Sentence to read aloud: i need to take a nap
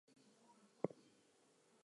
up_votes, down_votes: 2, 2